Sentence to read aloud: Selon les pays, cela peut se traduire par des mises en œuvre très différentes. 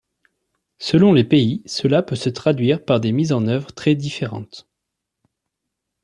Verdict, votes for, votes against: accepted, 2, 0